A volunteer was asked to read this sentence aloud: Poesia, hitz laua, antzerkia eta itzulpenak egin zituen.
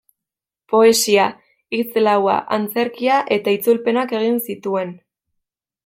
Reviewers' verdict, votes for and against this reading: accepted, 2, 0